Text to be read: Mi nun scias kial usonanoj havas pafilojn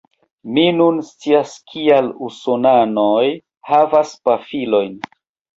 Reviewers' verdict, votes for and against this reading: accepted, 2, 0